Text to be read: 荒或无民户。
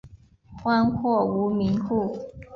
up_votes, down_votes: 3, 0